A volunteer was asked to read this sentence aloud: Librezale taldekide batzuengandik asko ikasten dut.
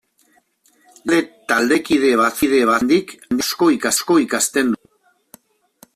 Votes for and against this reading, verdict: 0, 2, rejected